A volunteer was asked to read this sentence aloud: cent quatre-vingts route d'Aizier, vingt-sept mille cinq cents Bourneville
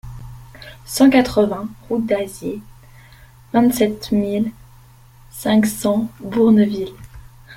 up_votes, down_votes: 0, 2